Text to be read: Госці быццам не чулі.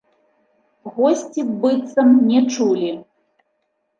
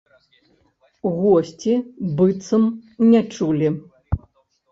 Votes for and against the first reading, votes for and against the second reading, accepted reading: 2, 0, 1, 2, first